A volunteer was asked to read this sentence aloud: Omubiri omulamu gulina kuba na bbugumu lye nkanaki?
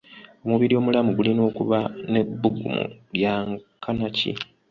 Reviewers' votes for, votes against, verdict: 0, 2, rejected